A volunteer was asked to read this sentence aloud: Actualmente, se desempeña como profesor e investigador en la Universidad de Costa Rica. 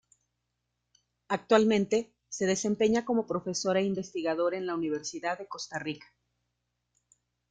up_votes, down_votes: 2, 1